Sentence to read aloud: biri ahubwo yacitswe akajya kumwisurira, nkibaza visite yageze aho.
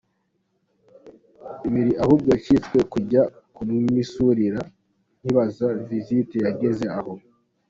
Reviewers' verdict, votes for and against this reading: accepted, 2, 1